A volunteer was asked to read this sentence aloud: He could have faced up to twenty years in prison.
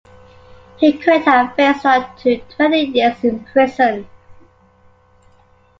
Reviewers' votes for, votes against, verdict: 2, 0, accepted